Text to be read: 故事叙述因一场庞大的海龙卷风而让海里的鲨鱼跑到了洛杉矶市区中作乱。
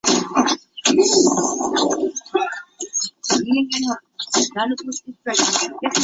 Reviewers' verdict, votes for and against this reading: rejected, 1, 3